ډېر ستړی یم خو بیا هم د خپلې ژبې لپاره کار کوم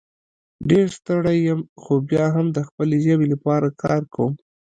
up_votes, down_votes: 0, 2